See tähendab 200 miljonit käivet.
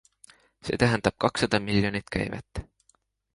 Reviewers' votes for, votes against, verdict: 0, 2, rejected